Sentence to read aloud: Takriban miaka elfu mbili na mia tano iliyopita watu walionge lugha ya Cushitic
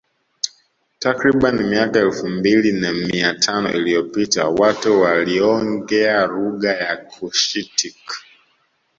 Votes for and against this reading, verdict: 0, 2, rejected